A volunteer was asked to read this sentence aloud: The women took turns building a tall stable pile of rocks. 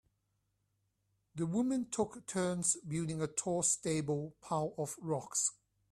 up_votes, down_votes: 2, 3